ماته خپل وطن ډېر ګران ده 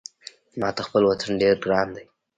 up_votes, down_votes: 1, 2